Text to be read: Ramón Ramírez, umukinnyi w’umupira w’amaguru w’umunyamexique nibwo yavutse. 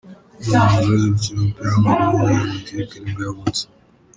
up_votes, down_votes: 1, 2